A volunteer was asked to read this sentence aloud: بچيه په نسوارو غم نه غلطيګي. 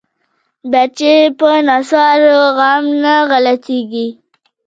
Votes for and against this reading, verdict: 2, 1, accepted